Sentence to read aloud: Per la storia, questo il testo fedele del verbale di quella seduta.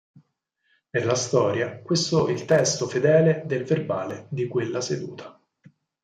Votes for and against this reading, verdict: 4, 0, accepted